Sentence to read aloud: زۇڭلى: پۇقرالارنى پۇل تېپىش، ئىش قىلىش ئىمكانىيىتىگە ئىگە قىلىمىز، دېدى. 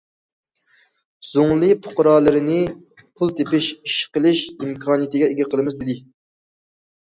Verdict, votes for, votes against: rejected, 0, 2